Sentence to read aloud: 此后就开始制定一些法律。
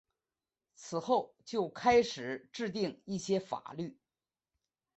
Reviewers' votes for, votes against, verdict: 4, 0, accepted